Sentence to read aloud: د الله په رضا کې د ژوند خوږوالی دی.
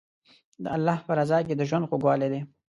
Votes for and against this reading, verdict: 2, 0, accepted